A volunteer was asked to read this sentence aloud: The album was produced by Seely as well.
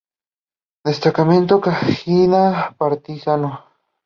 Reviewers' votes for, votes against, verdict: 0, 2, rejected